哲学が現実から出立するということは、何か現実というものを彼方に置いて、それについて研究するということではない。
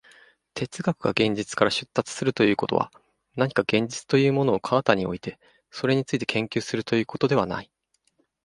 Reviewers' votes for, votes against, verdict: 2, 0, accepted